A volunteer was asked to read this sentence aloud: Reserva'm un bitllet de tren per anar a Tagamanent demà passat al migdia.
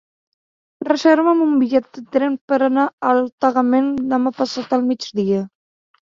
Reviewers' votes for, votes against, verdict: 0, 2, rejected